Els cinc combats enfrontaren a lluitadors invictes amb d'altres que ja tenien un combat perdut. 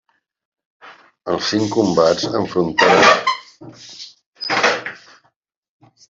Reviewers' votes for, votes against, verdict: 0, 2, rejected